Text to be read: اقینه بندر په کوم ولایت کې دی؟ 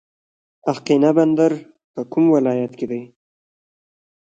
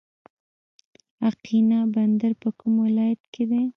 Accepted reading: second